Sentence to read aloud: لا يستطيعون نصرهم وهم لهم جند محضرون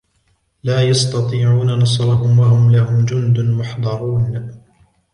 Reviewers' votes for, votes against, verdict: 1, 2, rejected